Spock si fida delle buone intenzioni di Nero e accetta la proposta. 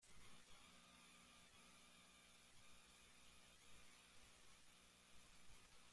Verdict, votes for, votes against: rejected, 0, 2